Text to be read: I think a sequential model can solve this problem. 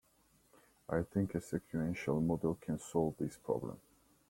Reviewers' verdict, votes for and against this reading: accepted, 2, 1